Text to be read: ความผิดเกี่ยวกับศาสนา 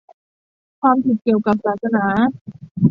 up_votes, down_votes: 2, 0